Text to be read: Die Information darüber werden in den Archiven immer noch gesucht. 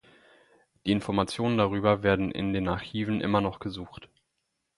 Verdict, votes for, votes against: accepted, 4, 0